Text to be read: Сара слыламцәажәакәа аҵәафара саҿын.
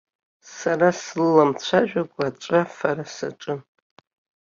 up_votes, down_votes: 2, 0